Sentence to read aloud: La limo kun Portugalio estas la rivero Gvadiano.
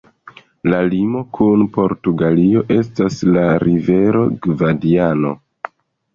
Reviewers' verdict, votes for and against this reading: rejected, 0, 2